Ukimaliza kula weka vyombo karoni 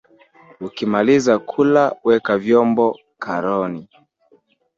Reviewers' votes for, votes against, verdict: 2, 3, rejected